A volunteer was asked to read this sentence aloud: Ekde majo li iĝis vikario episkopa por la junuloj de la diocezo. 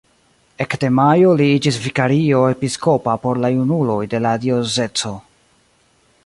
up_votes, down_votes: 1, 2